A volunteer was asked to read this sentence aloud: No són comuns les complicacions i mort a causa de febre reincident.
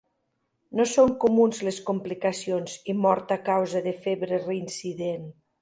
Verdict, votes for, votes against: accepted, 2, 0